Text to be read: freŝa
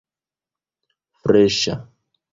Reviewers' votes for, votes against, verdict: 2, 1, accepted